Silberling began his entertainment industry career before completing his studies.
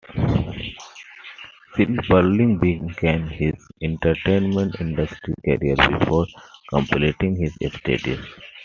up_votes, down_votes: 2, 0